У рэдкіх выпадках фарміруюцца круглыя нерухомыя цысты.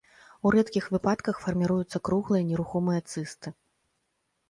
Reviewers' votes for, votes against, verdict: 2, 0, accepted